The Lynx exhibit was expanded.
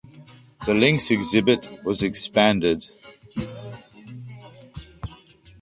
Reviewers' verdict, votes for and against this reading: accepted, 2, 0